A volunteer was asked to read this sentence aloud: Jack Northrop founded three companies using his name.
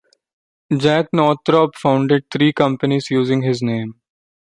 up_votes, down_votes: 2, 0